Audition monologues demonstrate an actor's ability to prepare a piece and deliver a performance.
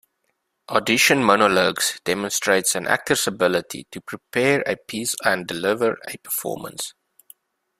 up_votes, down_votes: 1, 2